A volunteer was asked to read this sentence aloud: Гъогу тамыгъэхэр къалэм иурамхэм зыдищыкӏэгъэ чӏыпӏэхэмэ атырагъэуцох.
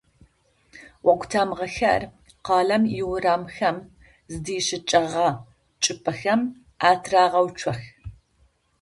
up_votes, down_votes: 0, 2